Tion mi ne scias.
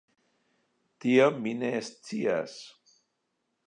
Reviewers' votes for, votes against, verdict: 2, 3, rejected